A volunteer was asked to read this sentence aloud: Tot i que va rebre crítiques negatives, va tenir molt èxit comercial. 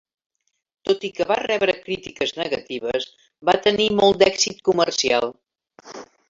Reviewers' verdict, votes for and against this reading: rejected, 1, 3